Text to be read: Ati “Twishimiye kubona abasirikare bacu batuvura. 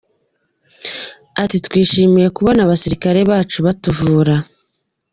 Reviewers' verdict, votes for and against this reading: accepted, 2, 0